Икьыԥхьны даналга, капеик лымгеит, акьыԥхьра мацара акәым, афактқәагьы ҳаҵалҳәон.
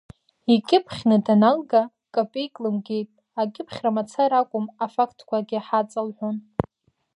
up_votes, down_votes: 2, 0